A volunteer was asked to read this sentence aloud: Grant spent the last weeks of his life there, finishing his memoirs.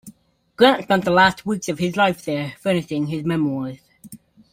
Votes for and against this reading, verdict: 1, 3, rejected